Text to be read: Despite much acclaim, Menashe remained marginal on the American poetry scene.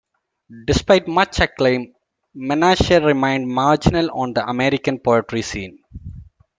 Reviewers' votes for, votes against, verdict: 1, 2, rejected